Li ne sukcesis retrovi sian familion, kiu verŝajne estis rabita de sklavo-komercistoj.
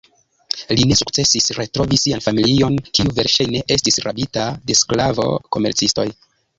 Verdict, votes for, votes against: rejected, 1, 2